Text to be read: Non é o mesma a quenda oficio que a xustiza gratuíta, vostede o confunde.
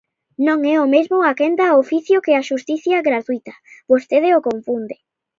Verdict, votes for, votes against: rejected, 1, 2